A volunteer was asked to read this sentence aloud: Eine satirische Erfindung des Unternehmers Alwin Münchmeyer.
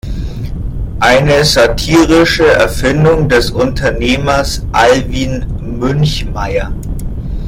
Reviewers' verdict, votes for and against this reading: accepted, 2, 1